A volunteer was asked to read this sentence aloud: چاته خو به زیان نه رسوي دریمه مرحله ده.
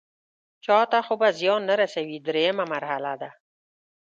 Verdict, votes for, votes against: accepted, 2, 0